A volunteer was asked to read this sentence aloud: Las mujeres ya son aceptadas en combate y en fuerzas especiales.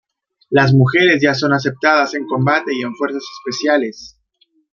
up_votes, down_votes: 2, 0